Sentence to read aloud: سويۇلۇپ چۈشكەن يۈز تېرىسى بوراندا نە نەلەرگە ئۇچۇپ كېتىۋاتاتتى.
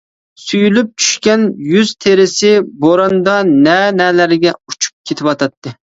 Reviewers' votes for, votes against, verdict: 0, 2, rejected